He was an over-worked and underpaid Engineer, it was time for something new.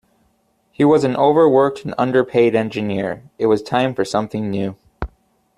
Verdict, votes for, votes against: accepted, 2, 0